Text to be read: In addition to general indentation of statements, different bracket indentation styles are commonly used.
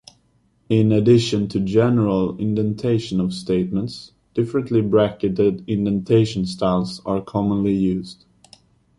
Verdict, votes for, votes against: rejected, 0, 2